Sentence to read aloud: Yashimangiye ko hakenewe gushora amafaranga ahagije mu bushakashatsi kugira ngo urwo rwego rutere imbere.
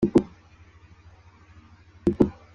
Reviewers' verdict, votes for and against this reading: rejected, 0, 2